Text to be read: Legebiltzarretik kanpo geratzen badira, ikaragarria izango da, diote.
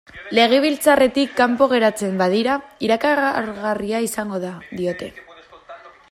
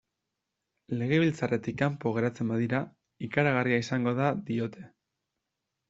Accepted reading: second